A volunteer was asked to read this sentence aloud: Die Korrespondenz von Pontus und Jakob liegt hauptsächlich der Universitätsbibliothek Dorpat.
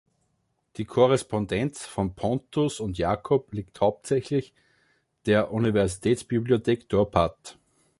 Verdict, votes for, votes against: accepted, 2, 0